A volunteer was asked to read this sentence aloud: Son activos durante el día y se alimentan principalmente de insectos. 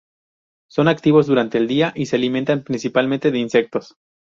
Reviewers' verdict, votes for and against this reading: accepted, 2, 0